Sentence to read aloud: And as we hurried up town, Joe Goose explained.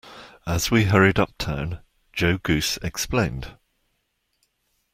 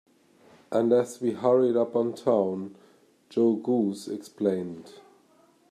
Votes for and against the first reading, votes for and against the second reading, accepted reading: 1, 2, 2, 0, second